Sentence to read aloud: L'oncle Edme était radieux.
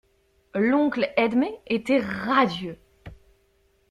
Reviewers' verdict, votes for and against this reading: accepted, 2, 0